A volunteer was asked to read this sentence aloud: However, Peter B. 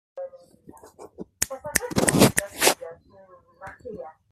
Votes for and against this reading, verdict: 0, 2, rejected